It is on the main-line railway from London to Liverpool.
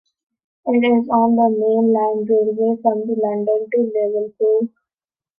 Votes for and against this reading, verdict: 0, 2, rejected